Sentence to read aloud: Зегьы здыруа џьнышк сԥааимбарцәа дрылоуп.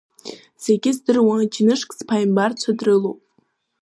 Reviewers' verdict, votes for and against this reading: rejected, 0, 2